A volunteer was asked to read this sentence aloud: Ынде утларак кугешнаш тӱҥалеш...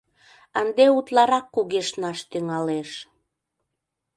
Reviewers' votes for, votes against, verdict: 2, 0, accepted